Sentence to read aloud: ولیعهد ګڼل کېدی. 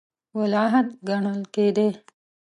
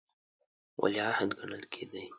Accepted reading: second